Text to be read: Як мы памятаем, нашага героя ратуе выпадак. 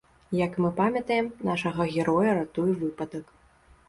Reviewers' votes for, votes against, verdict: 2, 0, accepted